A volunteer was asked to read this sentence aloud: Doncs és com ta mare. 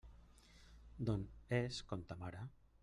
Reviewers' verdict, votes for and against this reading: rejected, 0, 2